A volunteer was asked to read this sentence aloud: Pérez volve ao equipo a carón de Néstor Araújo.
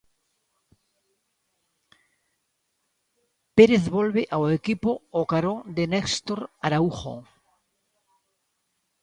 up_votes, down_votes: 1, 2